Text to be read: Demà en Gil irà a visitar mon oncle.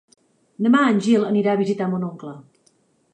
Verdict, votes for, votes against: rejected, 1, 2